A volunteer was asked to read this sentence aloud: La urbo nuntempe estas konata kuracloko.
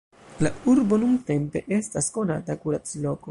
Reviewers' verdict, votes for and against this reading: rejected, 1, 2